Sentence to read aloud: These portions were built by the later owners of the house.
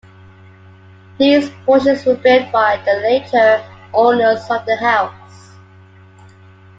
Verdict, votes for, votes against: accepted, 2, 0